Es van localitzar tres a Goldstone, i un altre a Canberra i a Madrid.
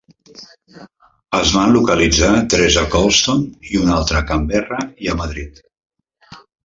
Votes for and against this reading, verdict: 0, 2, rejected